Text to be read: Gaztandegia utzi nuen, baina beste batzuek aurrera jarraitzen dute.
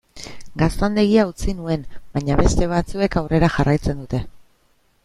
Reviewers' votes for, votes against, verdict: 2, 0, accepted